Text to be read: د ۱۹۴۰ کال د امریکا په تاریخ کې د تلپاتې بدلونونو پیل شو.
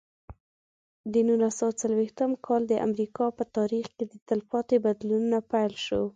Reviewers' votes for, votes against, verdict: 0, 2, rejected